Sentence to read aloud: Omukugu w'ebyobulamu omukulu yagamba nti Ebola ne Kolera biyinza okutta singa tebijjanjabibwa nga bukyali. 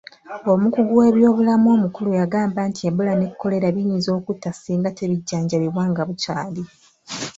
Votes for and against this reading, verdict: 2, 0, accepted